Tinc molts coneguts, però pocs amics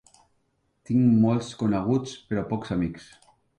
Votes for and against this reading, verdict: 3, 0, accepted